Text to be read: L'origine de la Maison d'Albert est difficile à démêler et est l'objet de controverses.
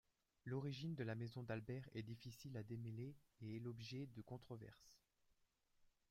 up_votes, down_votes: 0, 2